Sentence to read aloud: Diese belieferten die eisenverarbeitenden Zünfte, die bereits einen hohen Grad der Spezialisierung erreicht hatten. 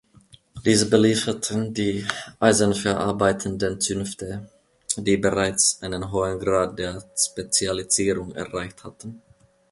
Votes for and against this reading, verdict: 2, 0, accepted